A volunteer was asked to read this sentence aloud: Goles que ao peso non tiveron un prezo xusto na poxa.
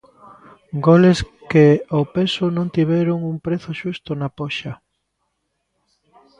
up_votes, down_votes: 1, 2